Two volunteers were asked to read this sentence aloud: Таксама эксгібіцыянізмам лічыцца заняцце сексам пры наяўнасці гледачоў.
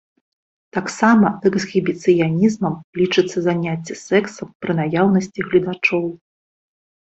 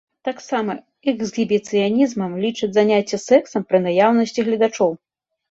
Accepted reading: first